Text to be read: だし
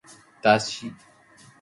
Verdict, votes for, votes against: accepted, 2, 0